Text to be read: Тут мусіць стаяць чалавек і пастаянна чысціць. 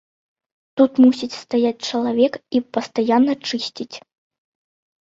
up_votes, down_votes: 2, 0